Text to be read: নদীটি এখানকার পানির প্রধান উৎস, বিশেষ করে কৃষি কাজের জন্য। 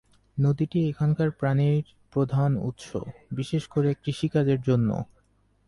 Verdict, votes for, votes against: accepted, 2, 0